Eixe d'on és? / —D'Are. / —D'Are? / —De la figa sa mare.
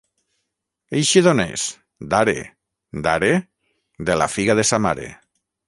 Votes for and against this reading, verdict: 0, 6, rejected